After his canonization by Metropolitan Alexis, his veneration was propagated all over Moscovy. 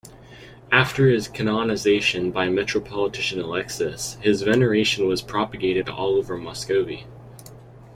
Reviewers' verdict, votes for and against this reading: rejected, 0, 2